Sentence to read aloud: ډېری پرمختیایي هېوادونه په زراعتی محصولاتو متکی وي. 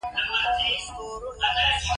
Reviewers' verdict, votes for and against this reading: accepted, 2, 1